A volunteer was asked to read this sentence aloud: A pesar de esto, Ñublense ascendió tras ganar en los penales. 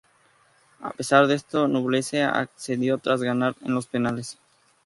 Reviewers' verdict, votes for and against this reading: rejected, 2, 2